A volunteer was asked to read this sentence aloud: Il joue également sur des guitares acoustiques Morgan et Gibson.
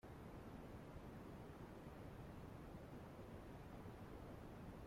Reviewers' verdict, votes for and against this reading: rejected, 0, 2